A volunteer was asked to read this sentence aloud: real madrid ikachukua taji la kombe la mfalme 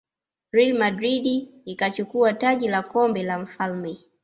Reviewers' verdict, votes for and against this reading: accepted, 2, 1